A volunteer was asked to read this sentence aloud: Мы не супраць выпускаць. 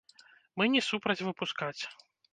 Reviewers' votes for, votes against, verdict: 1, 2, rejected